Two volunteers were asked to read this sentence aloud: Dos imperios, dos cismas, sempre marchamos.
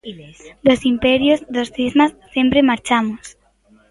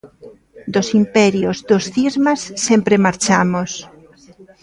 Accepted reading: first